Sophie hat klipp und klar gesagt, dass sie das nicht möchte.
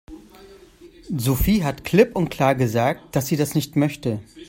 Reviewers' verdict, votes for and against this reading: accepted, 2, 0